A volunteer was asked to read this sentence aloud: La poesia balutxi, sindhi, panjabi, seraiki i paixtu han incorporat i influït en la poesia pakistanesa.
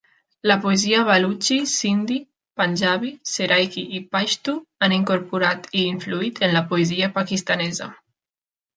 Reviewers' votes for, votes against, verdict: 2, 0, accepted